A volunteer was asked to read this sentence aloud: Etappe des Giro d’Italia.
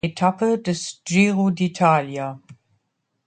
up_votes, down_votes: 2, 0